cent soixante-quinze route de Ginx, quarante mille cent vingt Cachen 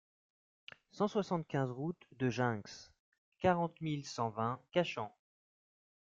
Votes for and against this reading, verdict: 2, 0, accepted